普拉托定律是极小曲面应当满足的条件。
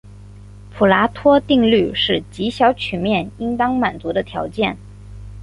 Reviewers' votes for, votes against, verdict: 6, 0, accepted